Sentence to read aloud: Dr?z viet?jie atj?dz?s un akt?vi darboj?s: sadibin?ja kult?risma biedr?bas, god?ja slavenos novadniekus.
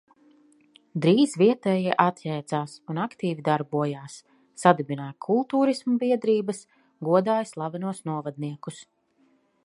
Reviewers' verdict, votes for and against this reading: rejected, 1, 2